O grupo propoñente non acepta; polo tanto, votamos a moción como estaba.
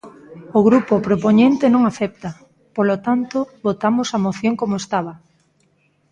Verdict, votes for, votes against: rejected, 1, 2